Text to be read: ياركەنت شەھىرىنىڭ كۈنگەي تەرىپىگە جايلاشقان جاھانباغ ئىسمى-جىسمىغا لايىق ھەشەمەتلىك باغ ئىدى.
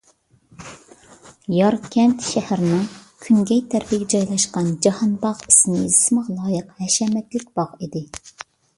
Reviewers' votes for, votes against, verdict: 2, 0, accepted